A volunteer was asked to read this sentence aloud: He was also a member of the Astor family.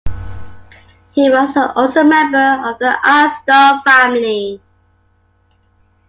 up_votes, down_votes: 2, 1